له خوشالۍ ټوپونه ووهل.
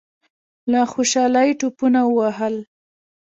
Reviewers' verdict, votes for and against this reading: rejected, 1, 2